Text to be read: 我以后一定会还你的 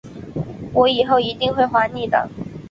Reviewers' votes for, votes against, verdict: 2, 0, accepted